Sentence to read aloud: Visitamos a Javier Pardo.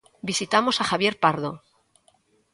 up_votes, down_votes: 2, 0